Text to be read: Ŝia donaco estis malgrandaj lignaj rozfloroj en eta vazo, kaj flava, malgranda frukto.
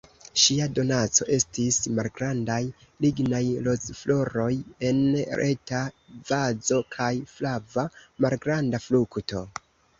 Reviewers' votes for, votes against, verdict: 2, 0, accepted